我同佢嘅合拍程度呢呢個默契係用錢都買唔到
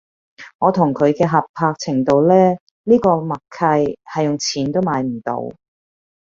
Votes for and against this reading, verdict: 2, 0, accepted